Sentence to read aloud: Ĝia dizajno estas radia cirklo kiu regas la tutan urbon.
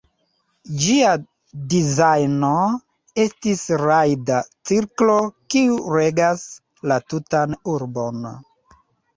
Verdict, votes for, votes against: rejected, 0, 2